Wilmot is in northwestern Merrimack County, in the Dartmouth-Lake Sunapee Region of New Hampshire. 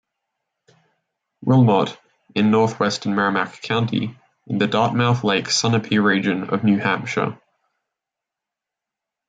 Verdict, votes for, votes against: rejected, 0, 2